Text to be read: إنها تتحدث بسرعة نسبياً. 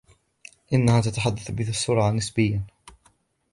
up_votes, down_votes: 1, 2